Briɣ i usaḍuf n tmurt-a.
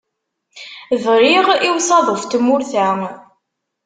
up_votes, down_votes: 2, 1